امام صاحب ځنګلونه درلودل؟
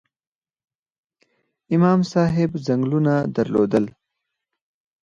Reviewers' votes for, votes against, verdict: 4, 0, accepted